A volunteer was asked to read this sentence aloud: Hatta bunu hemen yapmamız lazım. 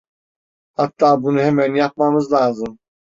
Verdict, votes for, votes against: accepted, 2, 0